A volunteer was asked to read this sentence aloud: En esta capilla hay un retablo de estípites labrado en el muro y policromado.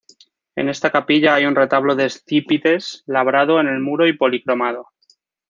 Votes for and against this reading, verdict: 0, 2, rejected